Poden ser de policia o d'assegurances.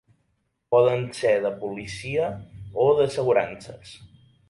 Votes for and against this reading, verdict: 3, 0, accepted